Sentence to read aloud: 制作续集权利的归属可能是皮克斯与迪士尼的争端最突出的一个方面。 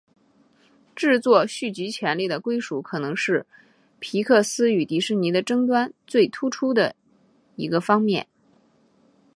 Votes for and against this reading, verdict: 3, 1, accepted